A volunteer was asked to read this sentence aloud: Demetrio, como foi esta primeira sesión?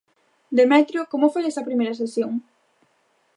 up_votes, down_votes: 0, 2